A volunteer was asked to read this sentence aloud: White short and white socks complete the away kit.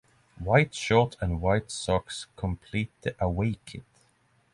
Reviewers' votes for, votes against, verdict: 3, 0, accepted